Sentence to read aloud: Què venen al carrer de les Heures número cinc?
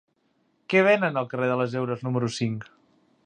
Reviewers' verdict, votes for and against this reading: accepted, 3, 0